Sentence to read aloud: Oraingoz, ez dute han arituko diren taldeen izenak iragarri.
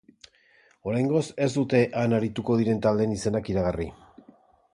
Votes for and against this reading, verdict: 2, 0, accepted